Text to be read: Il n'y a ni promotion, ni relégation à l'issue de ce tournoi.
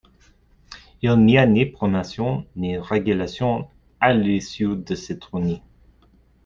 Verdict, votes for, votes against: rejected, 1, 2